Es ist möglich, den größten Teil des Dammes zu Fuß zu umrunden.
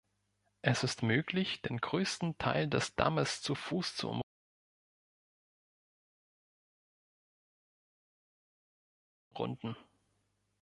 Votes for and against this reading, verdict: 1, 2, rejected